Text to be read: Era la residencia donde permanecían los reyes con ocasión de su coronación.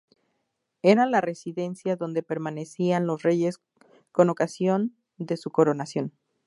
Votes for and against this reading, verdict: 2, 2, rejected